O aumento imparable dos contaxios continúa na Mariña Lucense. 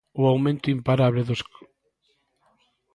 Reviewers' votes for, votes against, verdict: 0, 2, rejected